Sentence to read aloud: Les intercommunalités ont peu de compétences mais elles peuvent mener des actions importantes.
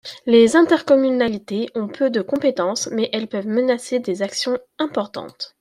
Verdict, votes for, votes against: rejected, 0, 2